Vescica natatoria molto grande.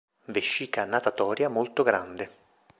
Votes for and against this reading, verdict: 2, 0, accepted